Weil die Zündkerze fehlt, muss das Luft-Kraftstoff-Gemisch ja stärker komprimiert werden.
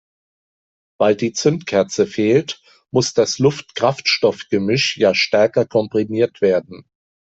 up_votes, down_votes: 3, 0